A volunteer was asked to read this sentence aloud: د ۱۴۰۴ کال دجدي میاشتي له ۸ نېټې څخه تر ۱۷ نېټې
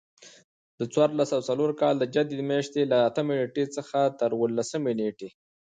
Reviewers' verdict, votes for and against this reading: rejected, 0, 2